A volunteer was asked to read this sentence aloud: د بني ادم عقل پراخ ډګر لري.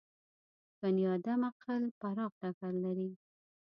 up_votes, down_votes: 2, 1